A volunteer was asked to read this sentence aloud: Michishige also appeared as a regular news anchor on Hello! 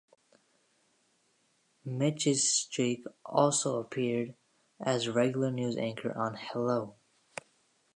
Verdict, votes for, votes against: rejected, 1, 2